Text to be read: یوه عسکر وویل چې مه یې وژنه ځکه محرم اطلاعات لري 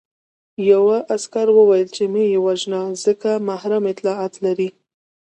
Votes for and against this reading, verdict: 0, 2, rejected